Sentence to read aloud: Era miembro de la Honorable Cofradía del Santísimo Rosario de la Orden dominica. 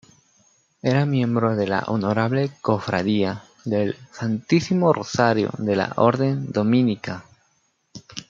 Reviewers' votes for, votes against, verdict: 2, 1, accepted